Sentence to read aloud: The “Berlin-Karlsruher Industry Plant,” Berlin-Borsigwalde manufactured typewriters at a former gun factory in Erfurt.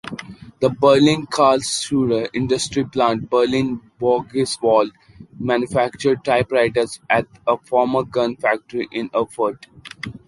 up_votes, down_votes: 0, 2